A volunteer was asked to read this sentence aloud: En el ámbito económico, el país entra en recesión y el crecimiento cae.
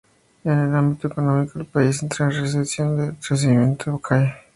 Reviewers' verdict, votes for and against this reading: rejected, 0, 2